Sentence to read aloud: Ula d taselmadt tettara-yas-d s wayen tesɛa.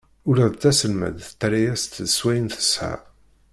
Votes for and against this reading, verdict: 1, 2, rejected